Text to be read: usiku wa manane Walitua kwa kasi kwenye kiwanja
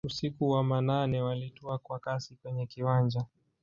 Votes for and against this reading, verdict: 1, 2, rejected